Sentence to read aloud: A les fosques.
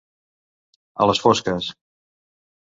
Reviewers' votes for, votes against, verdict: 2, 0, accepted